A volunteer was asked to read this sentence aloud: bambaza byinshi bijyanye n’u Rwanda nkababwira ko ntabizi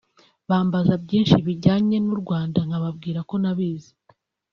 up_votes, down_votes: 1, 2